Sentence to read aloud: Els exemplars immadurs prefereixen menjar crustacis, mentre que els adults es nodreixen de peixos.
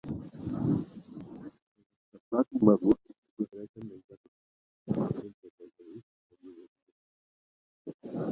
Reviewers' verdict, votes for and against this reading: rejected, 0, 2